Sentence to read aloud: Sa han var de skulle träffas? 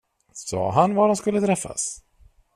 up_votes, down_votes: 2, 0